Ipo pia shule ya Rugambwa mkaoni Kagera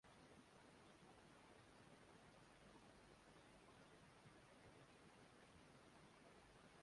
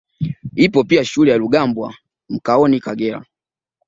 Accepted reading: second